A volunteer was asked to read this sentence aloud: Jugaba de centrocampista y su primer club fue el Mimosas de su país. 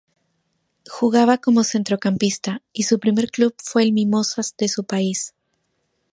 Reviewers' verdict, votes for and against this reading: accepted, 4, 0